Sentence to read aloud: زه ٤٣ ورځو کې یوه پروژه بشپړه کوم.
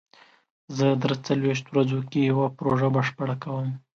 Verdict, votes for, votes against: rejected, 0, 2